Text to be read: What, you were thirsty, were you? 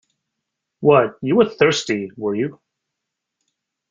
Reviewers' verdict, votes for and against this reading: accepted, 2, 0